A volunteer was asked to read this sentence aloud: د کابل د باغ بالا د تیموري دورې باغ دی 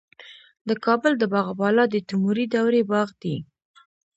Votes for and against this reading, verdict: 0, 2, rejected